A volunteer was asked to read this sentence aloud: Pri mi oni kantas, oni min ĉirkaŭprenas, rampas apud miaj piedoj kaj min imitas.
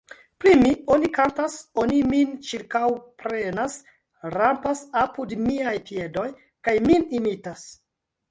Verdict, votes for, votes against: rejected, 0, 2